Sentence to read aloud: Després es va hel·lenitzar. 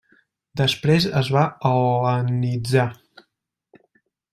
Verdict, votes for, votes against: rejected, 1, 2